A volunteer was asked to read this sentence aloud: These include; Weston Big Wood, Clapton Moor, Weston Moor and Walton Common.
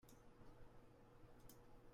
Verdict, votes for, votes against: rejected, 0, 2